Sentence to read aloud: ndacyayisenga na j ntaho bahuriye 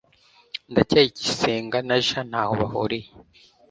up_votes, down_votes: 1, 2